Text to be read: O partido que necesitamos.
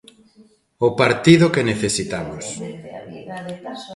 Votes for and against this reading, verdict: 0, 2, rejected